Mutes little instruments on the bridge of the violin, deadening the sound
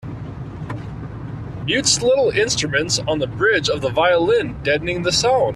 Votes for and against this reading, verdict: 2, 1, accepted